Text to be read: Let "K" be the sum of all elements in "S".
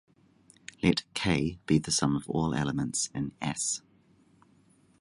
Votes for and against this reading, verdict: 2, 0, accepted